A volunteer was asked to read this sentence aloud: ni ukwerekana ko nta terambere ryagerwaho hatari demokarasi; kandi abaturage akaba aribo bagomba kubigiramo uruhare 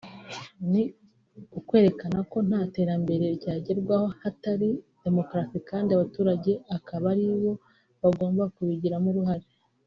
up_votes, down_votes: 2, 1